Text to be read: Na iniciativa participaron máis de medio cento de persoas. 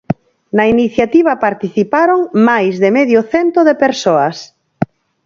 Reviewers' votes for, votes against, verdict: 4, 0, accepted